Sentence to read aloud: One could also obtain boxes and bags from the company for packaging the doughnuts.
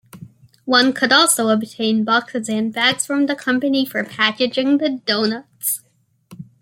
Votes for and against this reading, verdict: 2, 0, accepted